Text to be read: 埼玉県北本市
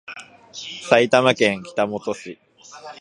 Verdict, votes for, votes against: accepted, 2, 0